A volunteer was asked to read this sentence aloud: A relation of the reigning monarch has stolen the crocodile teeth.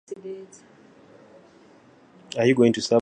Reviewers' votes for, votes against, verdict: 0, 4, rejected